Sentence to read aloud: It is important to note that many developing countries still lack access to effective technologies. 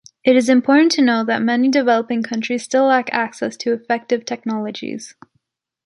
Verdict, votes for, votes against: accepted, 2, 0